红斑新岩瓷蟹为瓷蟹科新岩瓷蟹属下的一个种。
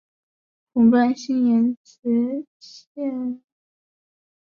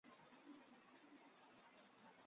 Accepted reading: first